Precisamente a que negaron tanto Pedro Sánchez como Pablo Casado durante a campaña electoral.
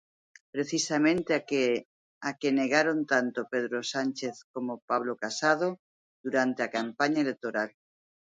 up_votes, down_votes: 0, 2